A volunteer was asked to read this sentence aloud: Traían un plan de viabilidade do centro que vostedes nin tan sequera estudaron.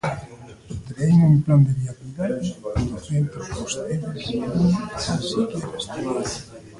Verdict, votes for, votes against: rejected, 0, 2